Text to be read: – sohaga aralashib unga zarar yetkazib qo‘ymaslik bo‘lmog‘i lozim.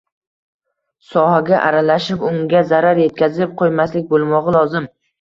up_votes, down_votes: 1, 2